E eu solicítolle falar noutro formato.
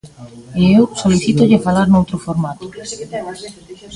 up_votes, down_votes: 0, 2